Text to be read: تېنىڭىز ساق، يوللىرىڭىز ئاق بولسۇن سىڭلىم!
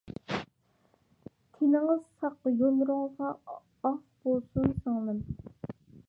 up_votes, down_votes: 0, 2